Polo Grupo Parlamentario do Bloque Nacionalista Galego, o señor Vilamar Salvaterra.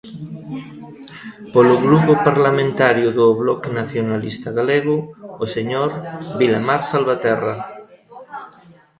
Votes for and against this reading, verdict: 0, 3, rejected